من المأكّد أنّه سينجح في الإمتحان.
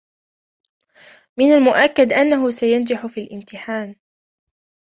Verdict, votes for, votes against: rejected, 0, 2